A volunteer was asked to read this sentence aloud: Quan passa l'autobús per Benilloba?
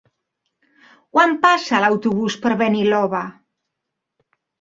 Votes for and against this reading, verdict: 1, 2, rejected